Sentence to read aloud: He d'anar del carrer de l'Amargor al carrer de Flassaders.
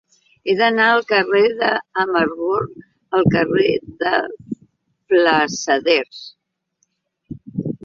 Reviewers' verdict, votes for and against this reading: rejected, 1, 2